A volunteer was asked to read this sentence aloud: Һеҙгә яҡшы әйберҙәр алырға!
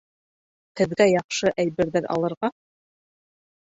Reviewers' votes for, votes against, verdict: 3, 0, accepted